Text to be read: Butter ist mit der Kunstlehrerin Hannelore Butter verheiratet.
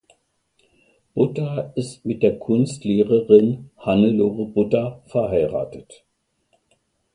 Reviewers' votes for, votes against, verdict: 2, 0, accepted